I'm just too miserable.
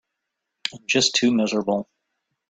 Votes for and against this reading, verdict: 0, 2, rejected